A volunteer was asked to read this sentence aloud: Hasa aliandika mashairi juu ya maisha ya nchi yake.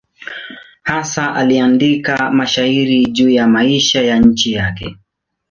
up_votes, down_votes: 2, 0